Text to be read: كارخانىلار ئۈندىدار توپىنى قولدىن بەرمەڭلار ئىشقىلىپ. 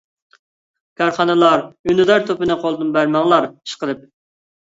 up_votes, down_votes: 2, 0